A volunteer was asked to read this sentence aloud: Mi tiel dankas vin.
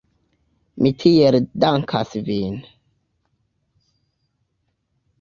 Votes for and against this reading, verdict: 0, 2, rejected